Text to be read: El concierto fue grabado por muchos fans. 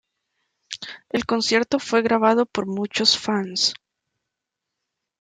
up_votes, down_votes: 2, 0